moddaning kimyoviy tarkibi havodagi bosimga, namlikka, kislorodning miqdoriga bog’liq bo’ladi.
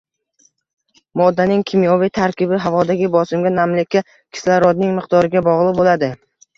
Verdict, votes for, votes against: rejected, 1, 2